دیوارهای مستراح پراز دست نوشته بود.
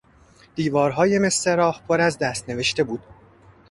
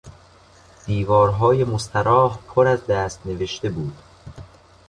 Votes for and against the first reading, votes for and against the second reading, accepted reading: 1, 2, 3, 0, second